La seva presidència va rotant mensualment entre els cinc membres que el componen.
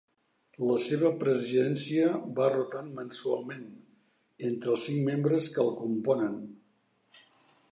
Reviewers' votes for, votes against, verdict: 2, 0, accepted